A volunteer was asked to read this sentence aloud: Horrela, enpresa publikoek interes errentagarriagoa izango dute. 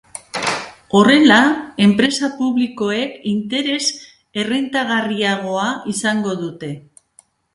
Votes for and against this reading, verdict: 2, 1, accepted